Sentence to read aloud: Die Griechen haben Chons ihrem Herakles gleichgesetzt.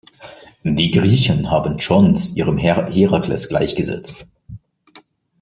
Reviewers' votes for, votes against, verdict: 1, 2, rejected